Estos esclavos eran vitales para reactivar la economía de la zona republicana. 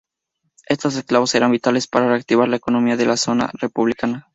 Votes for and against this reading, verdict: 2, 0, accepted